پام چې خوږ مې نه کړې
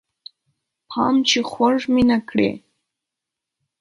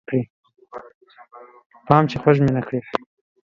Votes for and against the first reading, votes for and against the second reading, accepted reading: 2, 0, 1, 2, first